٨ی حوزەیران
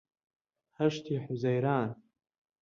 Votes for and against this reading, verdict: 0, 2, rejected